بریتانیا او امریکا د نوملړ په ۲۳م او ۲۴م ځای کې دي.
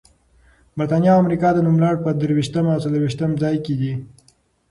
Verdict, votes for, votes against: rejected, 0, 2